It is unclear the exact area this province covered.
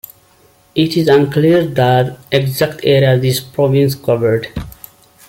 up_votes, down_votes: 0, 2